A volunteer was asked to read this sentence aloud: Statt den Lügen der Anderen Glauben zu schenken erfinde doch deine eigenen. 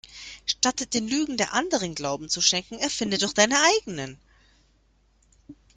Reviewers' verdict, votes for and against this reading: rejected, 0, 2